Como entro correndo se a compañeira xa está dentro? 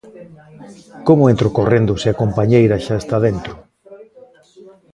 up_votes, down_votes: 0, 2